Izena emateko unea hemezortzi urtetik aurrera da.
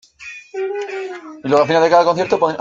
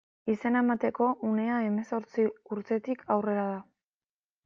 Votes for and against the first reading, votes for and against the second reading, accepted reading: 0, 2, 2, 0, second